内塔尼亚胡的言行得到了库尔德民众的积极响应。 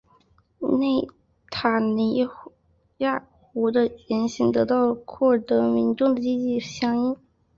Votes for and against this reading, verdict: 1, 2, rejected